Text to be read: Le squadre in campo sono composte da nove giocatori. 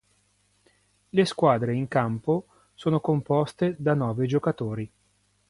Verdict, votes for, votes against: accepted, 2, 0